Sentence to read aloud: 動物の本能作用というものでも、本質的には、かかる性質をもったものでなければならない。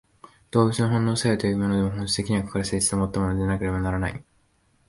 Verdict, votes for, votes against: rejected, 1, 2